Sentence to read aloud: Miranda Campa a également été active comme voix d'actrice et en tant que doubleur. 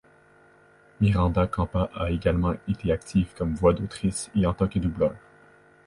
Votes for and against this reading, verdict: 0, 2, rejected